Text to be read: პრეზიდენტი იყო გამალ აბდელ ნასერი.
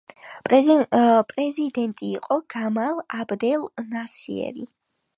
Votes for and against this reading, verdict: 2, 1, accepted